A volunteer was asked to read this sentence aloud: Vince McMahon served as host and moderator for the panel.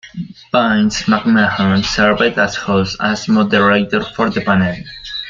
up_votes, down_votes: 0, 2